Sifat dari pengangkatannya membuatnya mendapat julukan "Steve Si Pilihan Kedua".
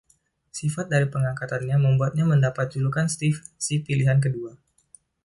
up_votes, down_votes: 2, 1